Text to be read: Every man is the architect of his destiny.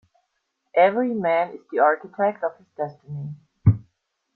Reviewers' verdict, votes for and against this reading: rejected, 0, 2